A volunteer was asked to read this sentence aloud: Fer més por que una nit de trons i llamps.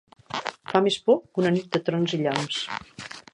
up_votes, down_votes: 1, 2